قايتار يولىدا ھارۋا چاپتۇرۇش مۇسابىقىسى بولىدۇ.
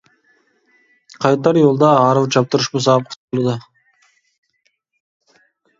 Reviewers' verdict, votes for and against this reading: rejected, 1, 2